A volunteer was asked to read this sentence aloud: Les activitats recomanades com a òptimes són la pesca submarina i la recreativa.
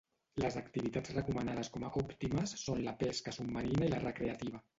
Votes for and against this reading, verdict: 0, 2, rejected